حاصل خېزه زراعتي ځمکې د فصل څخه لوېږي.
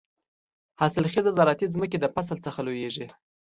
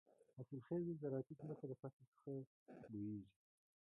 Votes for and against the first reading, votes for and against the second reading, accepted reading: 2, 0, 1, 2, first